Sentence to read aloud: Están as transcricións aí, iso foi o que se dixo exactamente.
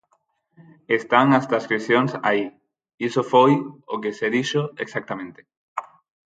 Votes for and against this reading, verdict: 4, 0, accepted